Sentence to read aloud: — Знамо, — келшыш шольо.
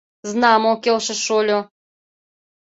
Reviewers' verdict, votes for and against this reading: accepted, 2, 0